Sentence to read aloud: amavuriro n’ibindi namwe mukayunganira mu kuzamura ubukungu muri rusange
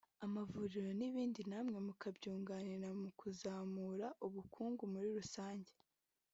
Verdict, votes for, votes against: rejected, 0, 2